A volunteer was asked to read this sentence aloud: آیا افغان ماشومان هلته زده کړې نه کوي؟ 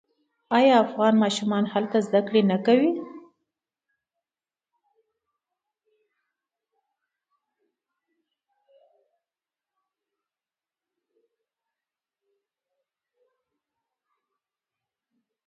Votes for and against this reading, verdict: 1, 2, rejected